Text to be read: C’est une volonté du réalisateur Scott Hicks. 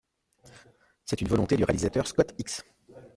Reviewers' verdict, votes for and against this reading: rejected, 1, 2